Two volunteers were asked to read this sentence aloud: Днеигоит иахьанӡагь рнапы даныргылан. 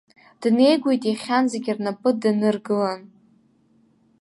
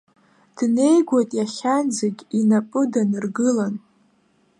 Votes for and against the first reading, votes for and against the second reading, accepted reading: 2, 1, 1, 2, first